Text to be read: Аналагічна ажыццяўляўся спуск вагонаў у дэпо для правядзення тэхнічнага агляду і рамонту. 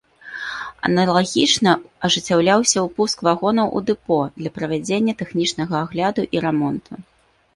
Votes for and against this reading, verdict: 1, 2, rejected